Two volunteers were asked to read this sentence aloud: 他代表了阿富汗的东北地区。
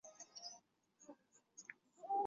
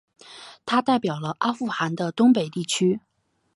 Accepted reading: second